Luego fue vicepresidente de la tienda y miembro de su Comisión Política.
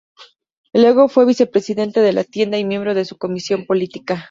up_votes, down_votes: 2, 0